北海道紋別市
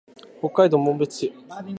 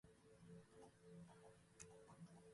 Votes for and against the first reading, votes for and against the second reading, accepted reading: 2, 0, 1, 2, first